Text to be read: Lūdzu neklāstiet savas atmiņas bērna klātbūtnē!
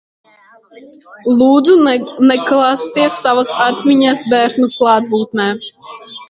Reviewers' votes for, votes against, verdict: 0, 2, rejected